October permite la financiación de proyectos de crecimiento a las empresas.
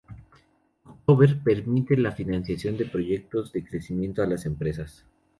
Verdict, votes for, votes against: rejected, 0, 4